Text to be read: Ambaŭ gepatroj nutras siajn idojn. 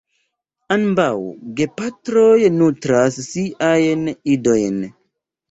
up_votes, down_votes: 0, 2